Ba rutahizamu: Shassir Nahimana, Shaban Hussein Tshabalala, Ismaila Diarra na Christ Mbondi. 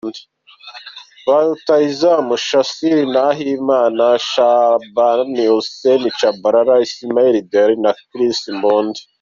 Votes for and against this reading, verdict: 2, 0, accepted